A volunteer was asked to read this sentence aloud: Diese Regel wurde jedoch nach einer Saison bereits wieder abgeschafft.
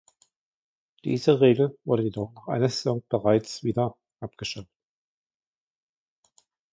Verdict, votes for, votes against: rejected, 1, 2